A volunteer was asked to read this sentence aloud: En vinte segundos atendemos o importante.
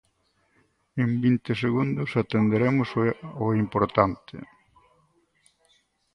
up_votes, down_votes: 0, 4